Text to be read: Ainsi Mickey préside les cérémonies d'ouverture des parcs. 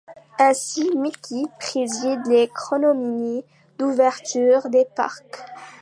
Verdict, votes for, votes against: rejected, 0, 2